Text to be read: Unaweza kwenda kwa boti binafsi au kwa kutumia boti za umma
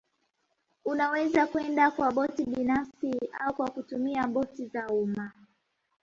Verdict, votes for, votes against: accepted, 2, 1